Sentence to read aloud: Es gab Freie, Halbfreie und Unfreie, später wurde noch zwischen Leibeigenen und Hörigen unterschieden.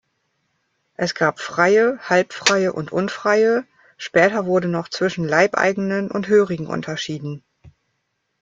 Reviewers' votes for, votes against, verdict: 2, 0, accepted